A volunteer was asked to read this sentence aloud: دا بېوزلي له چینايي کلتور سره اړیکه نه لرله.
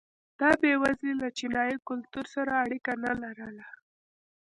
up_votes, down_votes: 1, 2